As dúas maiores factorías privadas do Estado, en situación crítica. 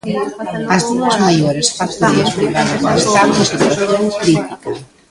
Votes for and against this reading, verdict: 0, 2, rejected